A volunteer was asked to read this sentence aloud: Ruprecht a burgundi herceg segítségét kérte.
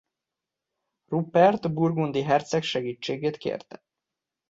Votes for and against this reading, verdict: 0, 2, rejected